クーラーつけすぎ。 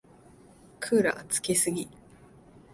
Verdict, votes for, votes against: accepted, 2, 0